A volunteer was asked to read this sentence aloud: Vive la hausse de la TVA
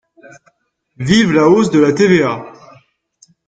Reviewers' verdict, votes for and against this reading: rejected, 1, 2